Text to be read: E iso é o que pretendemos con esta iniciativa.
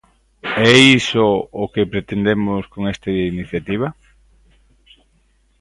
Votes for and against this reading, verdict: 0, 2, rejected